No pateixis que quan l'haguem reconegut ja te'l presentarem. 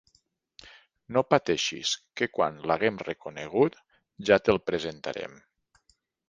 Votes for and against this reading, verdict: 3, 0, accepted